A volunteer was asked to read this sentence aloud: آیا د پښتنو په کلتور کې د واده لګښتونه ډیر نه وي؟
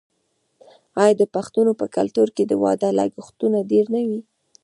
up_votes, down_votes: 2, 0